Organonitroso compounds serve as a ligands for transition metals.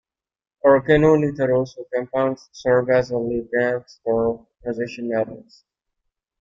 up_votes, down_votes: 1, 2